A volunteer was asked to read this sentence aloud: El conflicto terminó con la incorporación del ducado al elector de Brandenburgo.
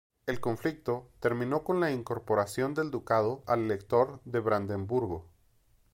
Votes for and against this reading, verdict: 1, 2, rejected